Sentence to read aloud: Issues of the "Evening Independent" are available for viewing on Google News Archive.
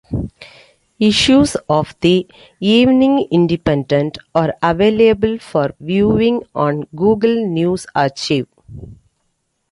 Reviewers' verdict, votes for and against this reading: rejected, 1, 2